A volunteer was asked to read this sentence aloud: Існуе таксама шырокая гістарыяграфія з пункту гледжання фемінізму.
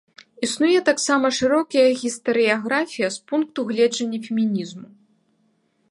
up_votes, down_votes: 1, 2